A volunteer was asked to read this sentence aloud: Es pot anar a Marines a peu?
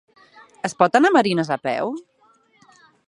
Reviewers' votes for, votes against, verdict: 8, 0, accepted